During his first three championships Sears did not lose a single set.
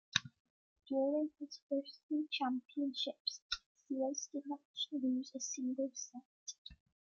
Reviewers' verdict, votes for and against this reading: rejected, 0, 2